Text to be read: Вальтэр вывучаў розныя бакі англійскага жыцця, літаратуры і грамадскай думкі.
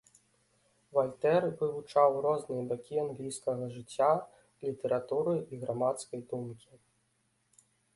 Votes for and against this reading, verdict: 2, 1, accepted